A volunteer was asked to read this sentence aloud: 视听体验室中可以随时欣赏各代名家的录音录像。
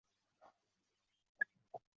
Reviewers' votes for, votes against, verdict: 1, 3, rejected